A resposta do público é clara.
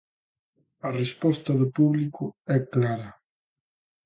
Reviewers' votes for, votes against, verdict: 2, 0, accepted